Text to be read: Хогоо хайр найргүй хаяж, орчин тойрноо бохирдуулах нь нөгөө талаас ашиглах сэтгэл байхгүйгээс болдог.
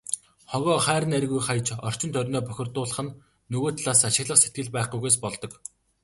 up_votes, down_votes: 2, 0